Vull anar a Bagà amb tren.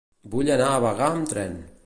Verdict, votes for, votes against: accepted, 2, 0